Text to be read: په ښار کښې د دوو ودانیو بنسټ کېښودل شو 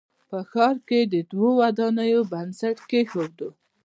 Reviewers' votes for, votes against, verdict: 2, 0, accepted